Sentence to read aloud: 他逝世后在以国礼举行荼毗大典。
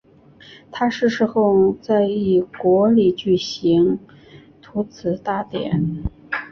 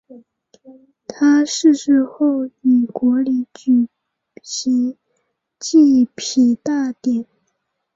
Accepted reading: first